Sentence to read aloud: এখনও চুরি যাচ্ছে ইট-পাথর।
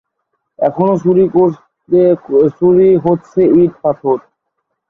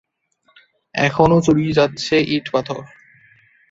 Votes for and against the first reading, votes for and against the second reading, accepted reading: 0, 2, 2, 0, second